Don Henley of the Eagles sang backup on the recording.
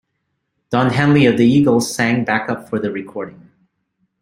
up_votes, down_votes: 0, 2